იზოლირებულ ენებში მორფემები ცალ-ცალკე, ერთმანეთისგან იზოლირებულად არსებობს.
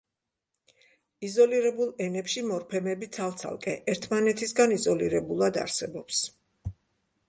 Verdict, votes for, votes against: accepted, 2, 0